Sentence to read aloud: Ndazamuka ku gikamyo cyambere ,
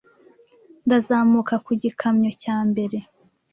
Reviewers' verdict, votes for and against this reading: rejected, 0, 2